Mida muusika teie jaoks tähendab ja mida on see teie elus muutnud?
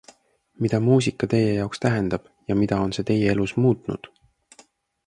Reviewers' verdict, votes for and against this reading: accepted, 2, 0